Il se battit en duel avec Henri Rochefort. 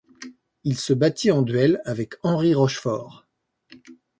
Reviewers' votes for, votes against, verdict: 2, 0, accepted